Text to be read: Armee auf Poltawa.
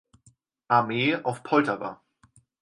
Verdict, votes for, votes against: accepted, 4, 0